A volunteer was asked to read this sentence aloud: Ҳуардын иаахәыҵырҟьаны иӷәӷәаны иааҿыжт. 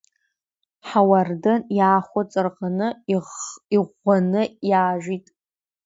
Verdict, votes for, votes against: rejected, 0, 2